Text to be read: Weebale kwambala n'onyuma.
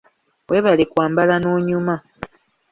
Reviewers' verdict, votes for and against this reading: accepted, 2, 0